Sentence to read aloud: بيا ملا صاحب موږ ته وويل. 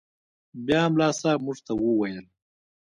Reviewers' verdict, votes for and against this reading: accepted, 2, 0